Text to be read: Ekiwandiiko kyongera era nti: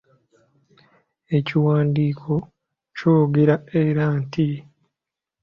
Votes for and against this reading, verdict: 2, 0, accepted